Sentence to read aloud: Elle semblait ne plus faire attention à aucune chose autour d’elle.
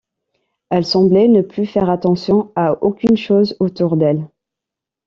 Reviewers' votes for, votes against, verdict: 2, 1, accepted